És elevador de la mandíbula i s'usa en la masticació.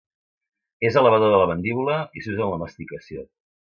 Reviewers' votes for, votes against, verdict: 2, 0, accepted